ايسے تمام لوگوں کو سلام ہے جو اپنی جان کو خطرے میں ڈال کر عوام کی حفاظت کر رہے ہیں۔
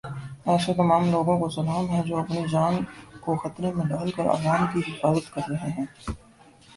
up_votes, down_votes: 3, 2